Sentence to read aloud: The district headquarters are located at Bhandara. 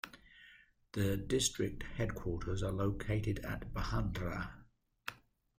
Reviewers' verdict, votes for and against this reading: accepted, 2, 0